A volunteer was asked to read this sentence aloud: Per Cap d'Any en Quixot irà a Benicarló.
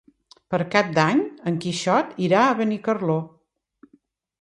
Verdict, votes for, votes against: accepted, 2, 0